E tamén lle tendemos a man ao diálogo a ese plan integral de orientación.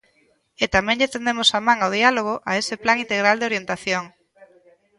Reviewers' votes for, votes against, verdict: 2, 0, accepted